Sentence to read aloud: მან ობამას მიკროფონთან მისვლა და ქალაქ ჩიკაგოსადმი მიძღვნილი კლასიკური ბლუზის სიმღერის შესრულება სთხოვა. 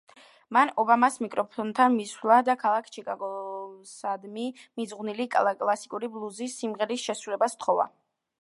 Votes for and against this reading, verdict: 1, 2, rejected